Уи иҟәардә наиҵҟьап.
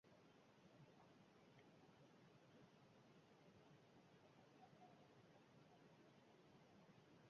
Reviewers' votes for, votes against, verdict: 1, 2, rejected